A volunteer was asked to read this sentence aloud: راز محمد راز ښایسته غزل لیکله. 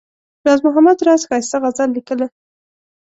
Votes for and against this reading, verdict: 2, 0, accepted